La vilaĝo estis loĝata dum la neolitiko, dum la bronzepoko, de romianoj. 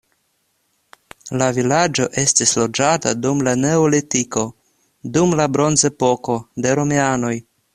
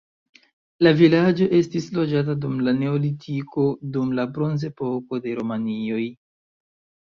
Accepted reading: first